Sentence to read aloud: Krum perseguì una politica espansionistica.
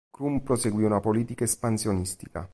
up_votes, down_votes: 2, 0